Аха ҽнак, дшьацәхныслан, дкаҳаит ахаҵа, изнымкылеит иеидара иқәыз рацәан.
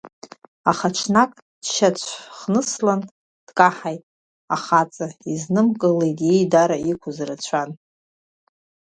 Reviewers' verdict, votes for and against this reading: rejected, 1, 2